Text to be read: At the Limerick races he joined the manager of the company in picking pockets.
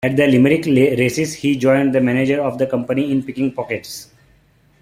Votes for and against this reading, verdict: 2, 1, accepted